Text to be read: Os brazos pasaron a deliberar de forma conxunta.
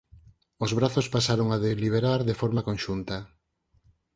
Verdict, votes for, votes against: accepted, 12, 0